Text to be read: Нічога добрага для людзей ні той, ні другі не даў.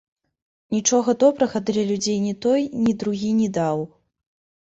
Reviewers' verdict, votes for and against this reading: rejected, 1, 2